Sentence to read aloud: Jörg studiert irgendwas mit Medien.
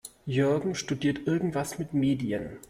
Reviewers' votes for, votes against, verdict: 1, 3, rejected